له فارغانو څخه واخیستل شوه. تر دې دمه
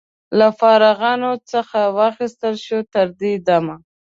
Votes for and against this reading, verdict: 2, 0, accepted